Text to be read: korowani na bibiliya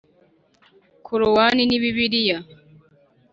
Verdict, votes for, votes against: rejected, 0, 2